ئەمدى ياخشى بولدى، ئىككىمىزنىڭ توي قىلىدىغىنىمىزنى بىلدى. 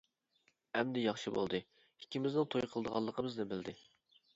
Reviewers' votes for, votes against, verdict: 1, 2, rejected